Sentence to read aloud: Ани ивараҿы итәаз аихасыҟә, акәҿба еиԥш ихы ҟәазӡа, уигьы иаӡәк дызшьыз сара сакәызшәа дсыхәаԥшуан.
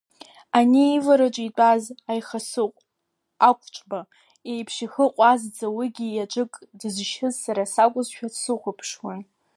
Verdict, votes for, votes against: rejected, 0, 2